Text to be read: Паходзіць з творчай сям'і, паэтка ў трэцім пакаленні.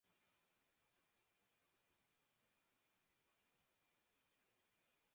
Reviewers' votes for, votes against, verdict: 0, 2, rejected